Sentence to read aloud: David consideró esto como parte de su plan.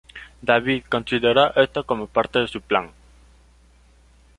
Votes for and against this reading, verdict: 0, 2, rejected